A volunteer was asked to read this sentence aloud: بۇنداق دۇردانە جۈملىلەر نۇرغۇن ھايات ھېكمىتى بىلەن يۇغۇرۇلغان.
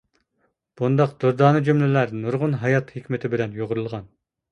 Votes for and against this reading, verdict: 2, 0, accepted